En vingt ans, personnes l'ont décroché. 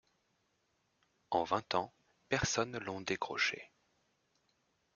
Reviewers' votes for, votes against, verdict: 0, 2, rejected